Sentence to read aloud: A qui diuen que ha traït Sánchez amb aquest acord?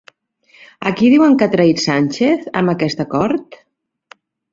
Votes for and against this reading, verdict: 2, 0, accepted